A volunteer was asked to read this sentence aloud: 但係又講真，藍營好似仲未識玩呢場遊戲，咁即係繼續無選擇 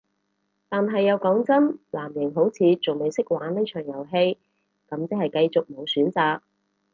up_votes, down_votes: 0, 2